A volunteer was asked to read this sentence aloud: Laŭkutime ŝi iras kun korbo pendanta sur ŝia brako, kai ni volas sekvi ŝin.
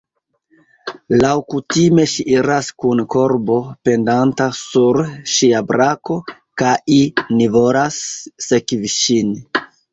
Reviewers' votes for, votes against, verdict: 2, 1, accepted